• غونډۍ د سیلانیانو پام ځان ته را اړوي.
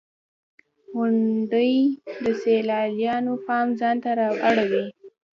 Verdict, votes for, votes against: accepted, 2, 0